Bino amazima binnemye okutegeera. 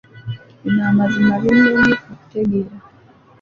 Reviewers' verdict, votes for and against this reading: accepted, 2, 1